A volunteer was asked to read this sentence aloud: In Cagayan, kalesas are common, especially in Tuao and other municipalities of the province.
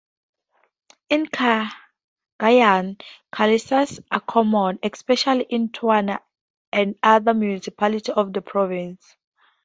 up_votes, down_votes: 0, 2